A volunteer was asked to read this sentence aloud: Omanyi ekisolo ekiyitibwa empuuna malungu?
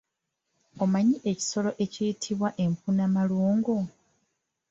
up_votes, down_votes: 2, 3